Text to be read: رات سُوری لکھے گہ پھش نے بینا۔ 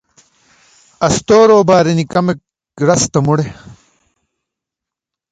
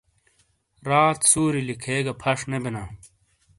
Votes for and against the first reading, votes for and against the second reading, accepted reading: 0, 2, 2, 0, second